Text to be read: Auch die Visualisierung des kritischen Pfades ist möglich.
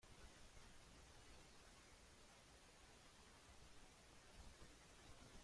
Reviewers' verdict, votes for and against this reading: rejected, 0, 2